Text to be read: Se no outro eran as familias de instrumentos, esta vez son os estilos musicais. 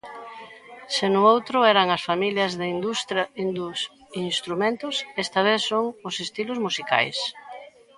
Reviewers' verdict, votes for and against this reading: rejected, 0, 2